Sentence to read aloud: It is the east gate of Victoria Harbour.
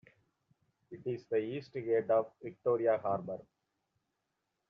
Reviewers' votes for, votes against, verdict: 2, 1, accepted